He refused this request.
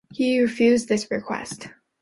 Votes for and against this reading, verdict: 2, 0, accepted